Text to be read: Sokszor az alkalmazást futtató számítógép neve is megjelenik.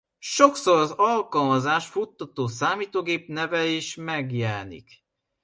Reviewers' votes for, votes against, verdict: 2, 1, accepted